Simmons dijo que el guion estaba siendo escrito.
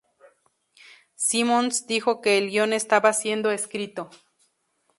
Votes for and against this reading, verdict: 2, 0, accepted